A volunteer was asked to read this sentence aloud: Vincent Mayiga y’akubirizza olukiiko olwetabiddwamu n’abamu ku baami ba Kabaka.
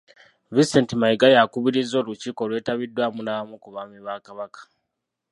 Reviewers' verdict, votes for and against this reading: rejected, 1, 2